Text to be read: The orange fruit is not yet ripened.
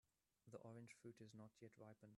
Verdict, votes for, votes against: accepted, 2, 0